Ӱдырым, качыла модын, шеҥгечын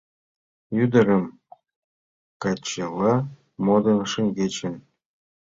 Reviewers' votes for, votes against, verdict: 2, 1, accepted